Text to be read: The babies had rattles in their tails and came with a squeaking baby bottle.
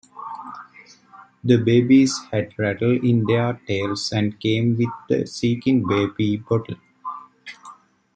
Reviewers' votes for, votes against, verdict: 1, 2, rejected